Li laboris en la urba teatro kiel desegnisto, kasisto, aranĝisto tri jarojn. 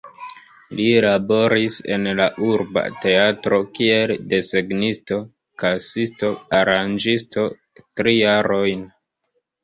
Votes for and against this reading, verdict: 0, 2, rejected